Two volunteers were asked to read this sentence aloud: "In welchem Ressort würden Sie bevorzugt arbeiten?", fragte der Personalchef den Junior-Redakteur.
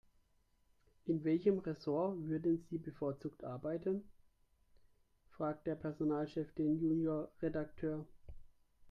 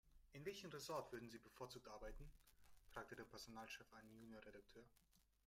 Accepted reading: first